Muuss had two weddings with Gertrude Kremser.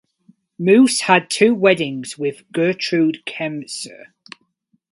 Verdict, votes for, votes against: accepted, 4, 0